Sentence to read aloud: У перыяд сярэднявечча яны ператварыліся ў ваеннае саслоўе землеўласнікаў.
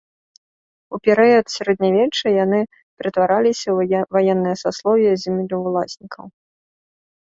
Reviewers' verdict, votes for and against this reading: rejected, 0, 2